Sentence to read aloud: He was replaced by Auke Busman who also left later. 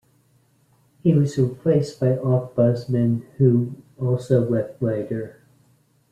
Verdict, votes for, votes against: rejected, 1, 2